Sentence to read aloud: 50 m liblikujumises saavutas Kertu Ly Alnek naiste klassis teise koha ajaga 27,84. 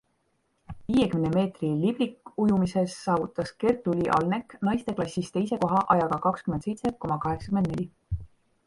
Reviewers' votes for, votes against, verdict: 0, 2, rejected